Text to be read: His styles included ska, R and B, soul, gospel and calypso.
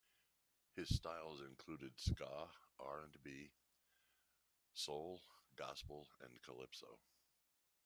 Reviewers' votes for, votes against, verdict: 2, 0, accepted